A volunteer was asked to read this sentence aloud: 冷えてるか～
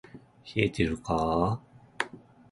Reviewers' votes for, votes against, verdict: 1, 2, rejected